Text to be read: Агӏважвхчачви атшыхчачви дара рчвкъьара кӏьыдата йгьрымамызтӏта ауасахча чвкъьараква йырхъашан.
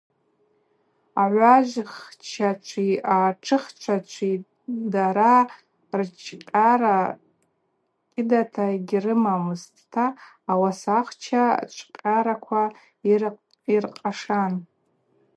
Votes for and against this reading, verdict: 0, 2, rejected